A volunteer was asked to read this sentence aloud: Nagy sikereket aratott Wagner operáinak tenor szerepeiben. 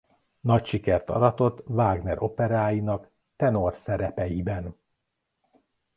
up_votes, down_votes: 1, 3